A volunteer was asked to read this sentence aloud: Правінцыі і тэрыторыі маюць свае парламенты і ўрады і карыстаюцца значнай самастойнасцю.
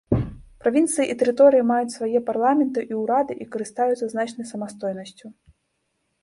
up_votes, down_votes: 2, 0